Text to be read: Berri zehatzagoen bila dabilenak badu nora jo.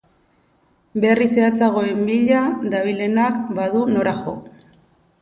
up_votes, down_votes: 2, 0